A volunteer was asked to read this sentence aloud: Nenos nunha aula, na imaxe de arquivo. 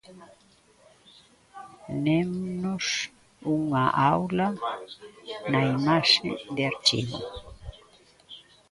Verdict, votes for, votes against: rejected, 0, 2